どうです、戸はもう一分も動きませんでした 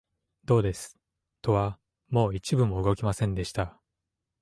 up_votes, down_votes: 2, 0